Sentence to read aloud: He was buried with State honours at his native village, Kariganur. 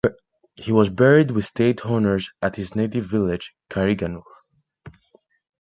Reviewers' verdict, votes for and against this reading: accepted, 2, 0